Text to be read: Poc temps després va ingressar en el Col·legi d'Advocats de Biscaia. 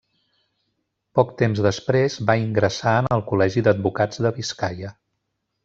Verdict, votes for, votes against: accepted, 2, 0